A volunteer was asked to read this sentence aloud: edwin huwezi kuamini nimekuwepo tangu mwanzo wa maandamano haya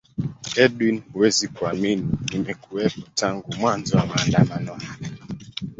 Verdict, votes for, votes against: rejected, 0, 2